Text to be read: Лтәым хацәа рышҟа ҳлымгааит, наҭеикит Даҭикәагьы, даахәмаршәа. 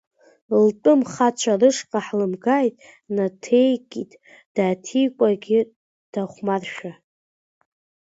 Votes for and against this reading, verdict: 0, 2, rejected